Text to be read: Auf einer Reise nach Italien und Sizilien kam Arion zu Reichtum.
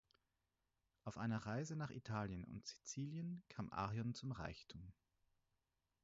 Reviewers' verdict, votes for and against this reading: rejected, 2, 4